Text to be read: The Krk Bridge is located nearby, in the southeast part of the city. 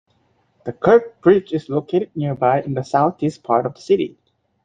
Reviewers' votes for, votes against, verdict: 2, 1, accepted